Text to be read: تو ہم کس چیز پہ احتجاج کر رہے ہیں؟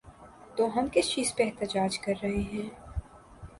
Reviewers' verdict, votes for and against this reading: accepted, 2, 0